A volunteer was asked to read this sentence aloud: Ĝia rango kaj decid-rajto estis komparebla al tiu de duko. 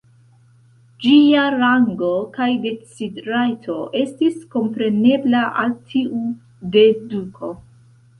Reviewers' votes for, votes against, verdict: 1, 2, rejected